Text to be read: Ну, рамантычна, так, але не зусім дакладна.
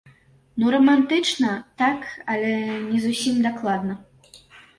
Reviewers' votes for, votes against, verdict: 2, 0, accepted